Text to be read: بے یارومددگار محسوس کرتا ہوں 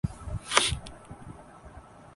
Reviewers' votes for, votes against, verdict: 1, 5, rejected